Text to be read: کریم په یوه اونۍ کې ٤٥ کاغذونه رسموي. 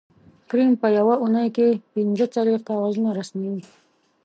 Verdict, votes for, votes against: rejected, 0, 2